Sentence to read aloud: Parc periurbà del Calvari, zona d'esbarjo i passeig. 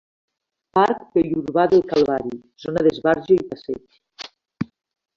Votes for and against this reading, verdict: 0, 2, rejected